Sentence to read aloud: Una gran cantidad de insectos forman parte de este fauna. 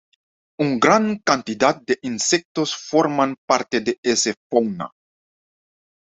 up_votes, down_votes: 1, 2